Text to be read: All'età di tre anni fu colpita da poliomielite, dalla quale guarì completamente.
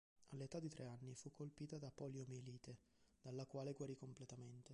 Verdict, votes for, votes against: rejected, 0, 2